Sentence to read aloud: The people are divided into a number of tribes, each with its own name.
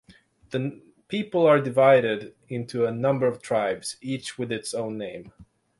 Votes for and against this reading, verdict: 0, 6, rejected